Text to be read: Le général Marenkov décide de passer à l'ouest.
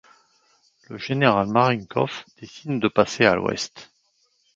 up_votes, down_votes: 2, 0